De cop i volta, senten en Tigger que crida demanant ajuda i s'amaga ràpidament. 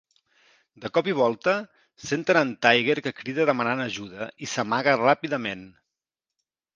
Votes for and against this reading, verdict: 2, 0, accepted